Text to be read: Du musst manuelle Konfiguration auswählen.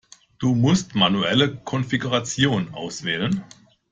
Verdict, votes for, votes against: accepted, 2, 0